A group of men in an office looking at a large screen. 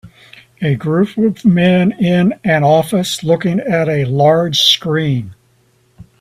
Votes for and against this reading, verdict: 3, 0, accepted